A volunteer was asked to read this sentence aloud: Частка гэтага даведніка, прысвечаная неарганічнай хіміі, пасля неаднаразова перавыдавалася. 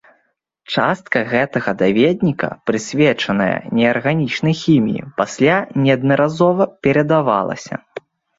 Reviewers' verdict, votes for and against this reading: rejected, 0, 2